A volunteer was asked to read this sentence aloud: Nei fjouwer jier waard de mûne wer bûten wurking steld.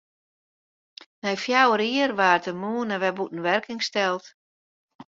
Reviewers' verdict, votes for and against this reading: accepted, 2, 0